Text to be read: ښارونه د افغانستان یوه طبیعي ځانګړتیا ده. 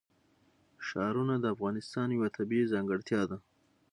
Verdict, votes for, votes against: accepted, 3, 0